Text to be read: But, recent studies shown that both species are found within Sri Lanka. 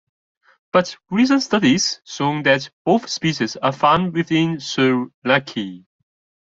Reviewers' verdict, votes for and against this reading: rejected, 0, 2